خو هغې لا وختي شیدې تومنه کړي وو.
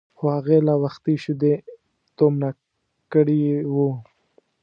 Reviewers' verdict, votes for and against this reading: rejected, 1, 2